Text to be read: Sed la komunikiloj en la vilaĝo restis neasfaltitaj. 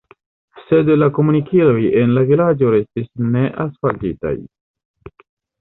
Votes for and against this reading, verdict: 1, 2, rejected